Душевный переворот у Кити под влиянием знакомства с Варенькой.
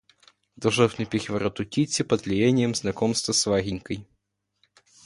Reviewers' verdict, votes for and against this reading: rejected, 0, 2